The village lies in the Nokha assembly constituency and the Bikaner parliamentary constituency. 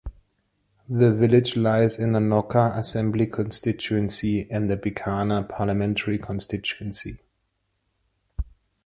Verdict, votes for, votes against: accepted, 2, 0